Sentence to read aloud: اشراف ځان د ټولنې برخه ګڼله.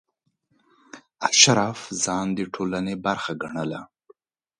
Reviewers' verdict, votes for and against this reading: accepted, 2, 0